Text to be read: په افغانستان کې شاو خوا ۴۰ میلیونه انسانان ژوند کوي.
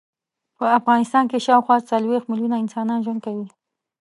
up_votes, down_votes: 0, 2